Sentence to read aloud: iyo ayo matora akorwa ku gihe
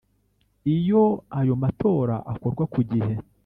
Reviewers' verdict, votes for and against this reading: rejected, 0, 2